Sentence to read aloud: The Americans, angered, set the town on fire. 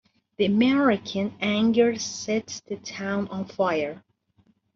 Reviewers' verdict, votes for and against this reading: rejected, 1, 2